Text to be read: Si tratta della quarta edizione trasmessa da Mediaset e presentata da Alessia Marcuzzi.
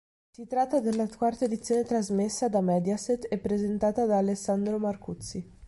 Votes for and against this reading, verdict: 0, 3, rejected